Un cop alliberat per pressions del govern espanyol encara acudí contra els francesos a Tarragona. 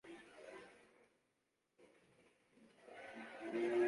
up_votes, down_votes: 0, 3